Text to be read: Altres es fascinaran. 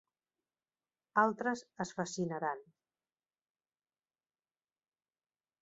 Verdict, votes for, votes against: accepted, 3, 0